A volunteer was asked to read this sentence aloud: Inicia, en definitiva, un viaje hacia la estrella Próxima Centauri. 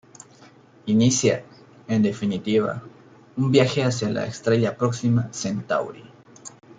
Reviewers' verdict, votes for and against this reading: accepted, 2, 0